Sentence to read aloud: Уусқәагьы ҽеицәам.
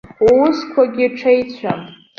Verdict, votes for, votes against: accepted, 2, 0